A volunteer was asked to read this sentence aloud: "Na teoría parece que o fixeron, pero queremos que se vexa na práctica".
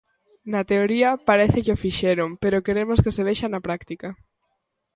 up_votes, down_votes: 2, 0